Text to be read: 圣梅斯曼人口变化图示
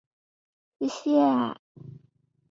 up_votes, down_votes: 2, 1